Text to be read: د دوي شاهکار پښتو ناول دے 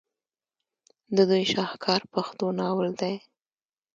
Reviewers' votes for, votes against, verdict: 2, 0, accepted